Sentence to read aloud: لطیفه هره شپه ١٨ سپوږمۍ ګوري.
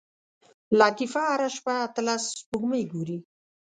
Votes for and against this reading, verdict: 0, 2, rejected